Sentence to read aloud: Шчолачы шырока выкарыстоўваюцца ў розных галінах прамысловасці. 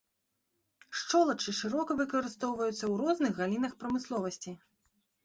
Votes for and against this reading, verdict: 2, 1, accepted